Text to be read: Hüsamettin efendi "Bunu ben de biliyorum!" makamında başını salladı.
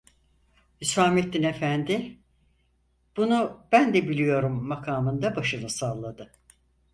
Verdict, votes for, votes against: accepted, 4, 0